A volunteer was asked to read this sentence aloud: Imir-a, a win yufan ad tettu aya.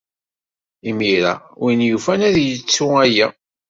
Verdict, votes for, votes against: rejected, 1, 2